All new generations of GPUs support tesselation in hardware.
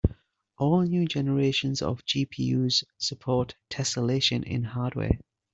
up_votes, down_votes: 2, 0